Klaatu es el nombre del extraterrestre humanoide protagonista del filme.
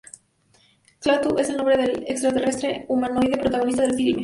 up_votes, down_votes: 0, 2